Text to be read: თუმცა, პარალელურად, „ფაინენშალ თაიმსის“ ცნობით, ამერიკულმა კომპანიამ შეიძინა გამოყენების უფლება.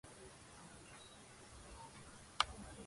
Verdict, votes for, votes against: rejected, 1, 2